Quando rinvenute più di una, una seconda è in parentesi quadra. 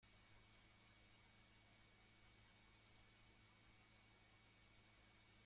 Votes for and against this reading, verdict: 0, 2, rejected